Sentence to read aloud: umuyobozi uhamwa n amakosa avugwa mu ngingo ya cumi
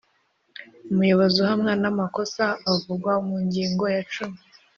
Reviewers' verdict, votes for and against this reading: accepted, 4, 0